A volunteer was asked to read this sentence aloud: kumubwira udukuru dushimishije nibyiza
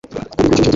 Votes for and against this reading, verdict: 1, 2, rejected